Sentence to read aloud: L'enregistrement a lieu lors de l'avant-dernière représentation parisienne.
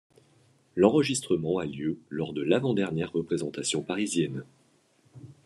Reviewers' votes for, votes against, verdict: 2, 0, accepted